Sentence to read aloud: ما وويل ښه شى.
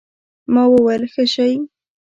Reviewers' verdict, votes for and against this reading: rejected, 1, 2